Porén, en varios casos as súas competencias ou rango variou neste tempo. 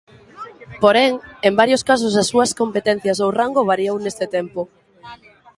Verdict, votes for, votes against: accepted, 2, 0